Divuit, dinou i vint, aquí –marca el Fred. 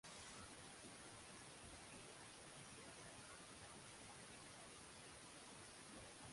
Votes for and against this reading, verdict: 0, 3, rejected